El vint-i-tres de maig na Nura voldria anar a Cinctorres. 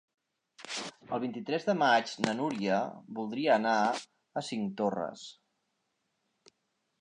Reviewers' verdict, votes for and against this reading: rejected, 0, 2